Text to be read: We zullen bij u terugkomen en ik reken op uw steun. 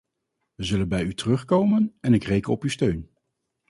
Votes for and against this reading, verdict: 0, 2, rejected